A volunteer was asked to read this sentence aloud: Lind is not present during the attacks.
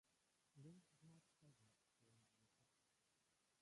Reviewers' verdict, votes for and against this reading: rejected, 0, 2